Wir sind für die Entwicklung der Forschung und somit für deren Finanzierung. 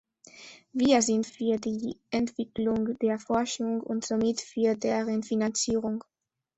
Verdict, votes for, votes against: accepted, 2, 0